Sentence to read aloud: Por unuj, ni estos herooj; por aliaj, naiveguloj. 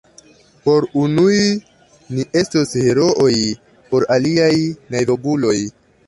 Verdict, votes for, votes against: rejected, 0, 2